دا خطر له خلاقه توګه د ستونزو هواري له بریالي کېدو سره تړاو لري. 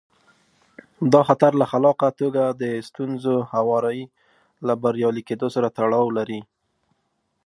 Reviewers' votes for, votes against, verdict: 2, 0, accepted